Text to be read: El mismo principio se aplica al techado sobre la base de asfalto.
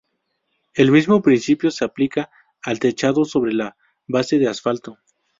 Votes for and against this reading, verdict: 2, 2, rejected